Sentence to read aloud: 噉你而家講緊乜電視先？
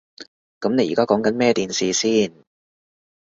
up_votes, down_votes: 1, 2